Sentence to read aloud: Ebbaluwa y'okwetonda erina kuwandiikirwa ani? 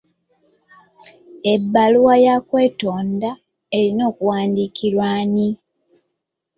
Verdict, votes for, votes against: rejected, 0, 2